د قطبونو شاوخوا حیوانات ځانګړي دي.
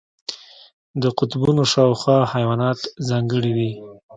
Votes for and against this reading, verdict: 2, 1, accepted